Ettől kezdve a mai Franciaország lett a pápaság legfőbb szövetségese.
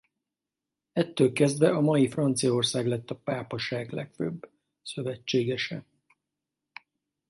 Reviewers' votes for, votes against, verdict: 4, 0, accepted